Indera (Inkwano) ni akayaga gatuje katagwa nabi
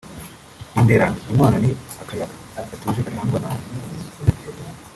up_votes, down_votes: 1, 3